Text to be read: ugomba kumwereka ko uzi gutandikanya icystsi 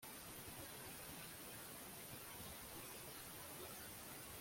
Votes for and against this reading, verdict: 0, 2, rejected